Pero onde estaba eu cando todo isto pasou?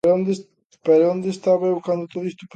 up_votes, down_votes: 0, 2